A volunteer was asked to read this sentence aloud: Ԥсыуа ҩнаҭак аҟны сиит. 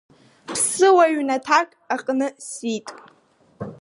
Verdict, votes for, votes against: accepted, 2, 1